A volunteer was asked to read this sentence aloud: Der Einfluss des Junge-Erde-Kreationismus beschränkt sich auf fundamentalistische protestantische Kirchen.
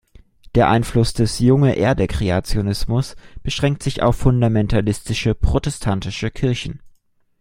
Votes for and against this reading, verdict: 2, 0, accepted